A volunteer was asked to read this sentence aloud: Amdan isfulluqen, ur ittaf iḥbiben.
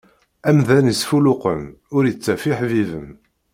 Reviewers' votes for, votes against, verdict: 2, 0, accepted